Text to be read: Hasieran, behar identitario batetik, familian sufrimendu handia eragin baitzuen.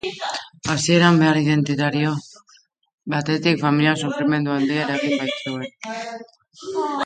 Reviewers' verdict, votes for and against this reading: rejected, 0, 2